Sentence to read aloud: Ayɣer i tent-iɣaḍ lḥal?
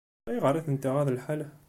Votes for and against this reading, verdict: 2, 1, accepted